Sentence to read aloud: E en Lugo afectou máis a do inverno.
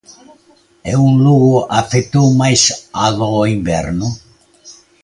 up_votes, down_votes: 0, 2